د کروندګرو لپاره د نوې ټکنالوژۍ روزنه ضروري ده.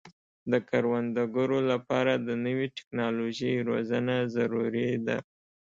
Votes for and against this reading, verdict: 2, 0, accepted